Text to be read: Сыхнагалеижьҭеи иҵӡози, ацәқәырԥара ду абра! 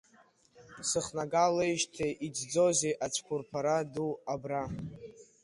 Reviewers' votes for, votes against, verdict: 1, 2, rejected